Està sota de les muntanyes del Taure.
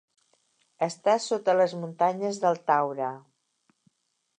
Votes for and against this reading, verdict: 1, 2, rejected